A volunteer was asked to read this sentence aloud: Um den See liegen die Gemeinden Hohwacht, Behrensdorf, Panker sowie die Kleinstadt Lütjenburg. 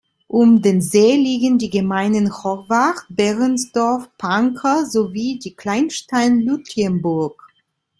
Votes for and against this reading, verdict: 0, 2, rejected